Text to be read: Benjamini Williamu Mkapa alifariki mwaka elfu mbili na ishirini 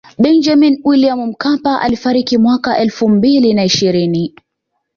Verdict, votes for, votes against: accepted, 2, 0